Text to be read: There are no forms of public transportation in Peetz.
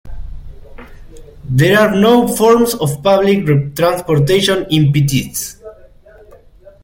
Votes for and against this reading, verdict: 0, 2, rejected